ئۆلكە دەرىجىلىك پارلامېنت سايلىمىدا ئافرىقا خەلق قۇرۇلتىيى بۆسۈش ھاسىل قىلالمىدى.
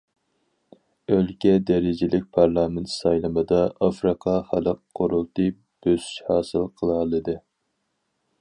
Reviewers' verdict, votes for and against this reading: rejected, 2, 4